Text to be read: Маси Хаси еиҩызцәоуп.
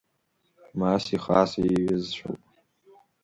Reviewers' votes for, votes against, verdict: 2, 1, accepted